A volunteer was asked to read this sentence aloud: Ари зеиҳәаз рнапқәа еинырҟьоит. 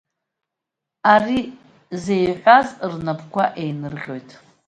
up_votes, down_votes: 1, 2